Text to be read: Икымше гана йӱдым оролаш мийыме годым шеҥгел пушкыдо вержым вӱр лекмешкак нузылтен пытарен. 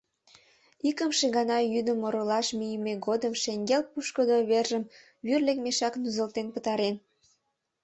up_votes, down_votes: 1, 2